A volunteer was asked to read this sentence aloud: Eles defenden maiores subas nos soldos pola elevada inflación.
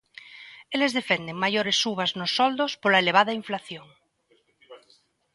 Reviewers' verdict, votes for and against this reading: accepted, 2, 0